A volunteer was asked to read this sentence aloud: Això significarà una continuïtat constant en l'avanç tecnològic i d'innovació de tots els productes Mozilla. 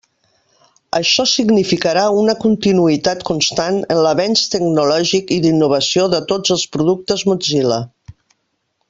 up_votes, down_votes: 3, 1